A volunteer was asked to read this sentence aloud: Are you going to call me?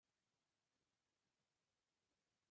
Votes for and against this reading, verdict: 0, 3, rejected